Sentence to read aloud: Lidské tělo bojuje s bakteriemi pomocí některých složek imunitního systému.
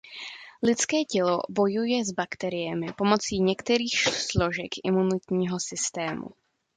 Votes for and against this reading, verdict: 1, 2, rejected